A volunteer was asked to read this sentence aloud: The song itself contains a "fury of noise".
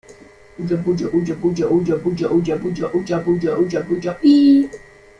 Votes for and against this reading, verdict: 0, 2, rejected